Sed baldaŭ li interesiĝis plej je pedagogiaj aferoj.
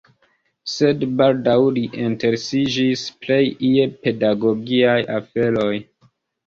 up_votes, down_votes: 0, 2